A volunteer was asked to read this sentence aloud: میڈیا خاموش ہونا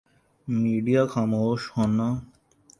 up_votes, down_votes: 2, 1